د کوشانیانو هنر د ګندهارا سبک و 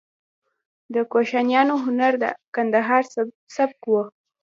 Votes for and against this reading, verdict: 0, 2, rejected